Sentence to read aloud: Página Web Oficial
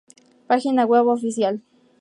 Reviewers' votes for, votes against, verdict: 4, 0, accepted